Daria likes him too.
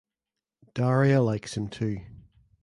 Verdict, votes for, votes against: accepted, 2, 0